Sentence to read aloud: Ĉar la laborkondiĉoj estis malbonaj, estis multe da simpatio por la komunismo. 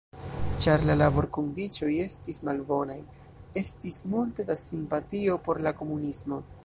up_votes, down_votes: 1, 2